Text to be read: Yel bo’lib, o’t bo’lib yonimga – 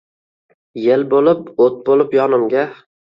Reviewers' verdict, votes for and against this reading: accepted, 2, 0